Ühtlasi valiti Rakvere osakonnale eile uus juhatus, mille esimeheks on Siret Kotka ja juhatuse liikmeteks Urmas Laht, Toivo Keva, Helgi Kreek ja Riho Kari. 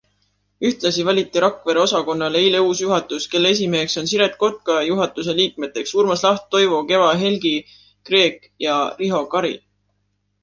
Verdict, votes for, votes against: accepted, 2, 1